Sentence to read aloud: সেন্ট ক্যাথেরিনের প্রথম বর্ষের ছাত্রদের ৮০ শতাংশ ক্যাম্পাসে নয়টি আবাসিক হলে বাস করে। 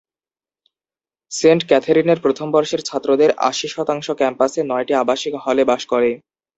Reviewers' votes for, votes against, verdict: 0, 2, rejected